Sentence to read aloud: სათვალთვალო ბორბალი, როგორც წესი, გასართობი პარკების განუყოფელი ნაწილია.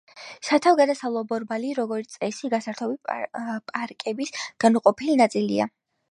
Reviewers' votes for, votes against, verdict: 0, 2, rejected